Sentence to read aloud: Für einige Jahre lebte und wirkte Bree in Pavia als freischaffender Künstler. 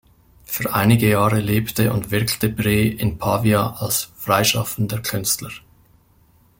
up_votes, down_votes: 2, 0